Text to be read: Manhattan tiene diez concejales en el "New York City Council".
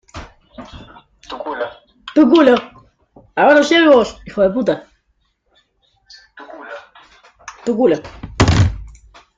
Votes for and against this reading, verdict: 0, 2, rejected